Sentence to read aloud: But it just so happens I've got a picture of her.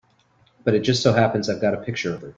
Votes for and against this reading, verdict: 0, 2, rejected